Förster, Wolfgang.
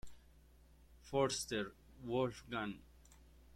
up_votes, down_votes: 0, 2